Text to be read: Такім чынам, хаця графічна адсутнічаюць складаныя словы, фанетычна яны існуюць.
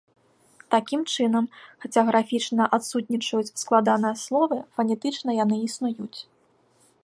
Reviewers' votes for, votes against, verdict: 2, 1, accepted